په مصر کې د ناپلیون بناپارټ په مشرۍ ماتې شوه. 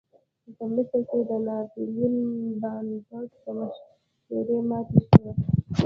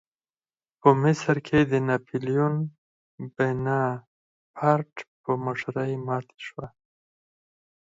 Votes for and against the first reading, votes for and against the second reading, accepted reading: 2, 1, 2, 4, first